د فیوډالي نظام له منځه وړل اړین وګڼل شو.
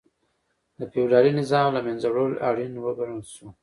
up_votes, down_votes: 2, 0